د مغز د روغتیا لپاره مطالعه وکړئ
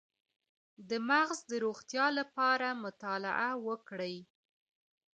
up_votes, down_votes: 2, 1